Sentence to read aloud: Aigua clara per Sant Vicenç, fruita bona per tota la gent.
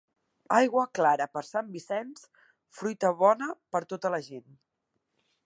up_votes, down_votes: 2, 0